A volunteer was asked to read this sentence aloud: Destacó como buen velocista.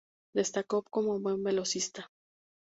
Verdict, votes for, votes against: accepted, 4, 0